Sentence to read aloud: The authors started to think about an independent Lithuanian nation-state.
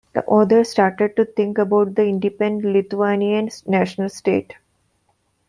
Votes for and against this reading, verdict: 1, 2, rejected